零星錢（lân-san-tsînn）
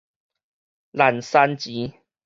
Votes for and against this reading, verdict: 4, 0, accepted